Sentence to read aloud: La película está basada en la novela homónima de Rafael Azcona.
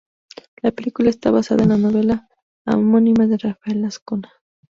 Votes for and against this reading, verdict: 0, 2, rejected